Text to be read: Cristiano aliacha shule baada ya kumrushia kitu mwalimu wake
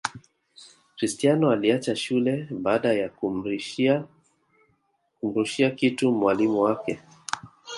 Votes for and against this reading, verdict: 1, 2, rejected